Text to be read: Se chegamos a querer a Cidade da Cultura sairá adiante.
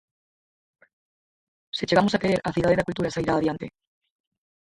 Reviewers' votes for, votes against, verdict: 2, 4, rejected